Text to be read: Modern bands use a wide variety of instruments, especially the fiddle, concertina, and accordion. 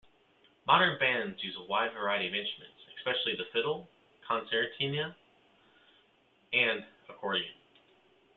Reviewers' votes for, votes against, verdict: 2, 0, accepted